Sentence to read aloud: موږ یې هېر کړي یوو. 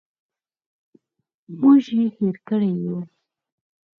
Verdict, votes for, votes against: accepted, 4, 0